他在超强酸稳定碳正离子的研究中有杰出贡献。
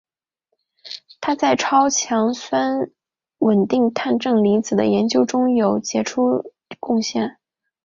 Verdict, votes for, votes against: accepted, 3, 0